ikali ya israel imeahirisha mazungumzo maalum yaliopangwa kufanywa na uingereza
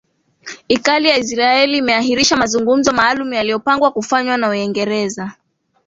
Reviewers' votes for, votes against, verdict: 2, 3, rejected